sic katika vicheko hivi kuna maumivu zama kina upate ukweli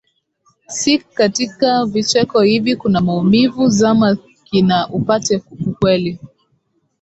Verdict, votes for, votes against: rejected, 0, 2